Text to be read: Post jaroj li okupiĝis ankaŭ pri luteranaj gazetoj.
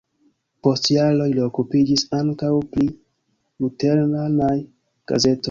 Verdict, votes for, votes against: rejected, 1, 2